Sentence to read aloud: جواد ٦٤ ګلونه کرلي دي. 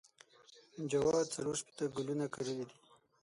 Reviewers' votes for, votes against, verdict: 0, 2, rejected